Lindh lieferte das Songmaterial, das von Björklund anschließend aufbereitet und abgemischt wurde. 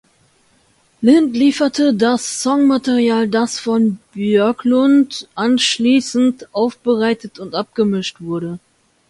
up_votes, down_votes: 2, 0